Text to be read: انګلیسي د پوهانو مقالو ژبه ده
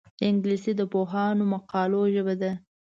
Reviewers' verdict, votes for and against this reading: accepted, 2, 0